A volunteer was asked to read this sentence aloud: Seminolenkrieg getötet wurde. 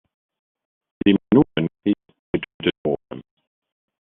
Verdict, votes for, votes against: rejected, 0, 2